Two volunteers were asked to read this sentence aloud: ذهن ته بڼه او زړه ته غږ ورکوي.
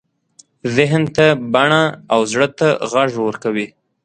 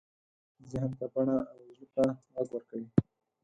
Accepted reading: first